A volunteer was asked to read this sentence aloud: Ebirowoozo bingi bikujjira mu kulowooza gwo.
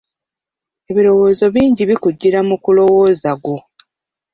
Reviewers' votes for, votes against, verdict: 2, 1, accepted